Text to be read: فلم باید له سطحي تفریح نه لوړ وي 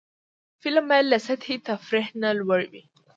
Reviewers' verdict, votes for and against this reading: accepted, 2, 0